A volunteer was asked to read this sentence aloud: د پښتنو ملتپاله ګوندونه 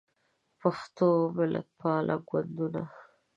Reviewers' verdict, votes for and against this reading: rejected, 1, 2